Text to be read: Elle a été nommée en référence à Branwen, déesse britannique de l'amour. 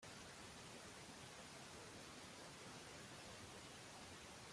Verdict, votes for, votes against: rejected, 0, 2